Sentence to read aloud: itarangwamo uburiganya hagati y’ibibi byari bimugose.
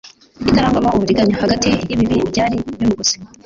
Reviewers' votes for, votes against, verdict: 0, 2, rejected